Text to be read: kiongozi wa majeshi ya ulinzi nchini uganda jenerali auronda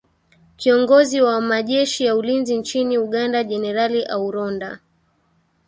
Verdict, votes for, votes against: accepted, 2, 0